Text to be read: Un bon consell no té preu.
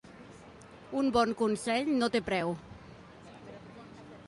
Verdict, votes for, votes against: accepted, 2, 0